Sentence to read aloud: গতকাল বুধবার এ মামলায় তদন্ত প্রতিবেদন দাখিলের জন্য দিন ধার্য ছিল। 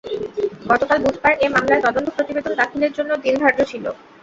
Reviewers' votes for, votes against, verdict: 0, 2, rejected